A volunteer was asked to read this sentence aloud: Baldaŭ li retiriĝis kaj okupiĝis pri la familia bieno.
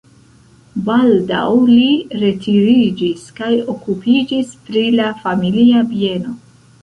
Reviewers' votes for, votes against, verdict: 1, 2, rejected